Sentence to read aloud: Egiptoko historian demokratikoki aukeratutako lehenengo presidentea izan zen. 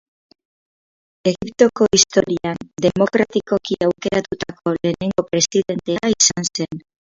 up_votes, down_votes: 0, 6